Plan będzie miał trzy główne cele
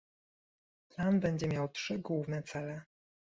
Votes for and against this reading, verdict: 2, 1, accepted